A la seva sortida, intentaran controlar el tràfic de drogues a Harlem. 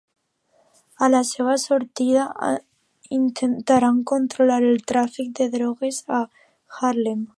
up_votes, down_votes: 2, 1